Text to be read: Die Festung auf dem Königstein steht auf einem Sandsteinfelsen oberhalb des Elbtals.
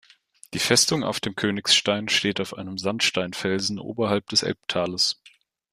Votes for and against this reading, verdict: 1, 2, rejected